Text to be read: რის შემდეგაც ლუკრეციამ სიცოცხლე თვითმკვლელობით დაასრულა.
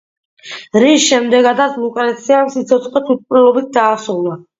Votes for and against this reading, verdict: 2, 1, accepted